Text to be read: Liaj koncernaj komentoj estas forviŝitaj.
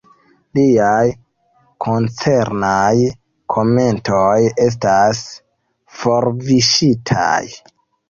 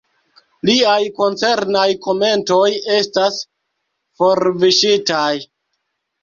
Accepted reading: second